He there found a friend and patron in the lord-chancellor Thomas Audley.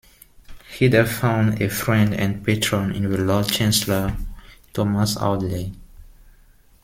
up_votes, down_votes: 2, 0